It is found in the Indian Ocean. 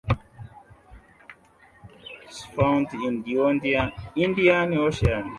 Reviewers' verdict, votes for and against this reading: rejected, 0, 2